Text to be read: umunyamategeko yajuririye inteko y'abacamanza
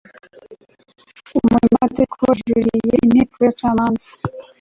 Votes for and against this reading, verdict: 1, 2, rejected